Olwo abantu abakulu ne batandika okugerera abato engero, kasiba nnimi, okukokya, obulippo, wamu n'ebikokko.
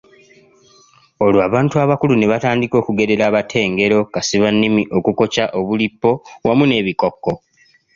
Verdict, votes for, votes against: accepted, 2, 0